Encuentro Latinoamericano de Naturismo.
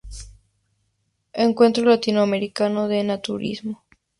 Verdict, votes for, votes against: accepted, 2, 0